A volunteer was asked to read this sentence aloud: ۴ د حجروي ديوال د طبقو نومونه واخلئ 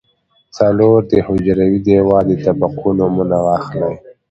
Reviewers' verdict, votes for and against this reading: rejected, 0, 2